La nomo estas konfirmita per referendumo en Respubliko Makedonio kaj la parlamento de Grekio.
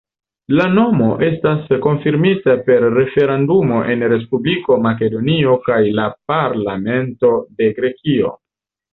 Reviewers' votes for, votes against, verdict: 2, 0, accepted